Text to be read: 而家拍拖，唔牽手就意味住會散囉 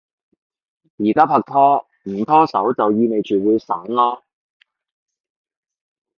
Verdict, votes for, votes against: rejected, 0, 2